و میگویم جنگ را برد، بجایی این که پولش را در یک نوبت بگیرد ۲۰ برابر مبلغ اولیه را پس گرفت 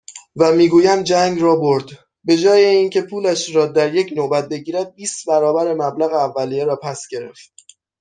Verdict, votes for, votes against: rejected, 0, 2